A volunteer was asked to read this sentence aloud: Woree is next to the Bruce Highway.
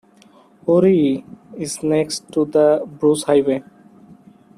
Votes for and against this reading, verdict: 2, 0, accepted